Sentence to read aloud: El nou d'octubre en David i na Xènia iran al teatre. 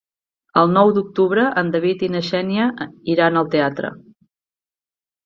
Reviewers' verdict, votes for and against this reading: rejected, 0, 2